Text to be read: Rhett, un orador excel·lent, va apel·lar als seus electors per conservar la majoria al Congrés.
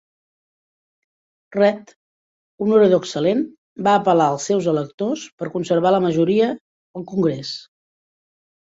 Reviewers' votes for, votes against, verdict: 1, 2, rejected